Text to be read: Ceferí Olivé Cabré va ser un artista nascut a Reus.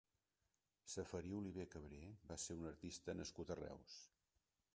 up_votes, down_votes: 0, 2